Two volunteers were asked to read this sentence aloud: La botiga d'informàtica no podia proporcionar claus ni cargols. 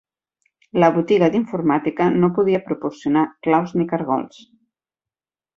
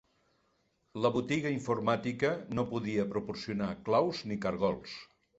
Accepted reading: first